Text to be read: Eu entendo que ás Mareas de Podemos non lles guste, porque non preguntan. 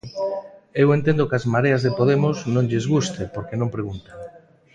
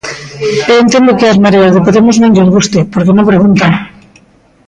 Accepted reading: first